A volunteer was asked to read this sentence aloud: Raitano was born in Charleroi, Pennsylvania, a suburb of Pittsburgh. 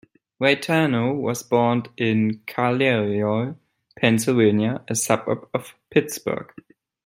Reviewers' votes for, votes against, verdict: 1, 2, rejected